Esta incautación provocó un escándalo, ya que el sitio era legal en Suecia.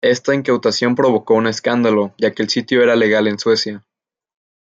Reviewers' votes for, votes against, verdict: 2, 0, accepted